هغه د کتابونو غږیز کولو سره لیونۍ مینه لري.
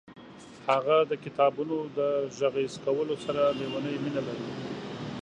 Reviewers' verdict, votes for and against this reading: rejected, 1, 3